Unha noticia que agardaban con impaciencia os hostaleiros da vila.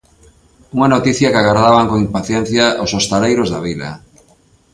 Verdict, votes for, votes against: accepted, 2, 0